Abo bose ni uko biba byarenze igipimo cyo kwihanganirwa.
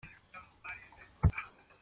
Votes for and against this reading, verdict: 0, 2, rejected